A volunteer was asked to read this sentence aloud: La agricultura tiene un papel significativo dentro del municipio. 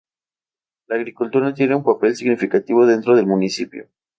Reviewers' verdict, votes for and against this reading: accepted, 2, 0